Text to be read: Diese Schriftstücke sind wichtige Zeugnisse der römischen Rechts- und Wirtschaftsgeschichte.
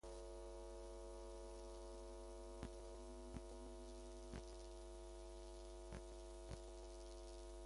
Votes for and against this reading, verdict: 0, 2, rejected